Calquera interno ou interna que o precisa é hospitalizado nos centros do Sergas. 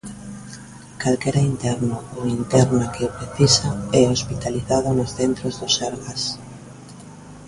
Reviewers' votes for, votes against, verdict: 2, 1, accepted